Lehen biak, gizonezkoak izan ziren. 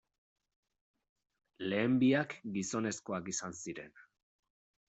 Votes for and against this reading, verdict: 2, 0, accepted